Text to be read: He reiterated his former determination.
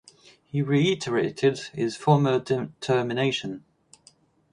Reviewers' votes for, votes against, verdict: 2, 2, rejected